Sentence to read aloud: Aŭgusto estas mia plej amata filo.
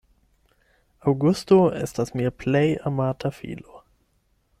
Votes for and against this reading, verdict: 4, 0, accepted